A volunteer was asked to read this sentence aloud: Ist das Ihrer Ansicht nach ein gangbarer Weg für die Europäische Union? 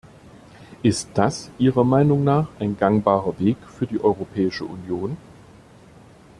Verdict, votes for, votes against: rejected, 0, 2